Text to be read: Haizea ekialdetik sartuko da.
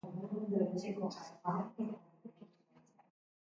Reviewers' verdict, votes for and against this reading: rejected, 0, 2